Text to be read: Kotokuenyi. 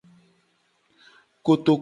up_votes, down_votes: 0, 2